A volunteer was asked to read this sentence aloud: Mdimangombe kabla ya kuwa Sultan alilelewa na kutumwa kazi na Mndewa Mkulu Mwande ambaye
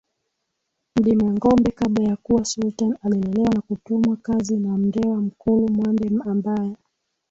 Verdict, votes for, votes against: accepted, 6, 5